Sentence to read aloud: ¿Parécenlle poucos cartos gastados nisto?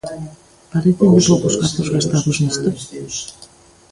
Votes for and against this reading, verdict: 1, 2, rejected